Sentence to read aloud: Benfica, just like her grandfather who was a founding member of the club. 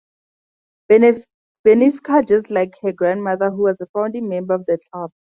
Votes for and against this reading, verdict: 0, 2, rejected